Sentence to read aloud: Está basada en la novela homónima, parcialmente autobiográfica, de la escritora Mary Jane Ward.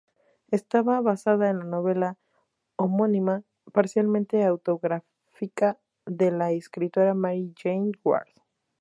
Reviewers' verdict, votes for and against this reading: rejected, 0, 2